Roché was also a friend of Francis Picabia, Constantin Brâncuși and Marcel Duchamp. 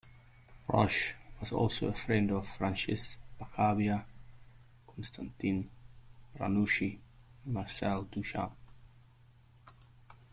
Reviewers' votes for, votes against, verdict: 0, 2, rejected